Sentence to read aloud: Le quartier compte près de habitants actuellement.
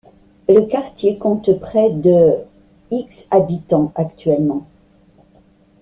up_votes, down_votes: 1, 2